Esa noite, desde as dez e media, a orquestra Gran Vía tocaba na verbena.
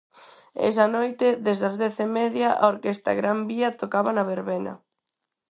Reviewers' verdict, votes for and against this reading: accepted, 4, 2